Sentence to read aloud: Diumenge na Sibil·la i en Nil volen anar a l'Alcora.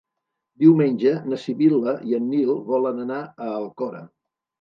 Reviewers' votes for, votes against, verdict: 1, 2, rejected